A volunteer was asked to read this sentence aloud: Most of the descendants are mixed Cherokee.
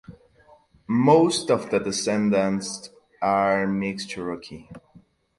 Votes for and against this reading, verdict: 4, 2, accepted